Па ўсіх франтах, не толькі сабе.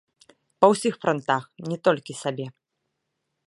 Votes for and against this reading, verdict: 2, 0, accepted